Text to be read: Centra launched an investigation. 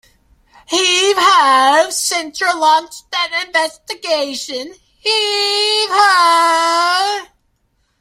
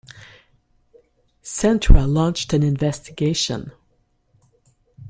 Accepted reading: second